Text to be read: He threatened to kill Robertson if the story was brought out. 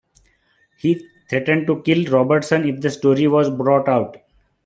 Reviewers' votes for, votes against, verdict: 2, 0, accepted